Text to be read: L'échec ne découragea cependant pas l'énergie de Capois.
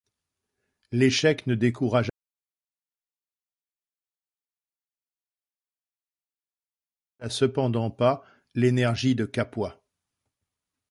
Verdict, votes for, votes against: rejected, 0, 2